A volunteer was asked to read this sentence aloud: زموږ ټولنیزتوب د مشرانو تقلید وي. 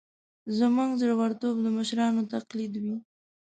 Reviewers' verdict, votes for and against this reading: rejected, 1, 2